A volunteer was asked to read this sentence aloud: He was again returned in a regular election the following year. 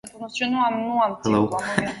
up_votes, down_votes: 0, 2